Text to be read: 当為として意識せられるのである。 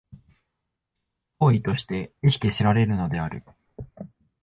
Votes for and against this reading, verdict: 4, 1, accepted